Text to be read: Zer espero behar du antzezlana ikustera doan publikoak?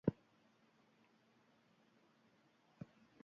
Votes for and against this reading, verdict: 0, 4, rejected